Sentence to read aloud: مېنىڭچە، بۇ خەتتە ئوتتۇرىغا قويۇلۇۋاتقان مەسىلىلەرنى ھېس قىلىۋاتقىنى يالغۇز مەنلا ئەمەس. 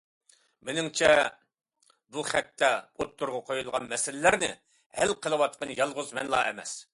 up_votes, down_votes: 1, 2